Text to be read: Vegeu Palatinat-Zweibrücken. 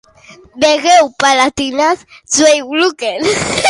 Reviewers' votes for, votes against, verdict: 0, 2, rejected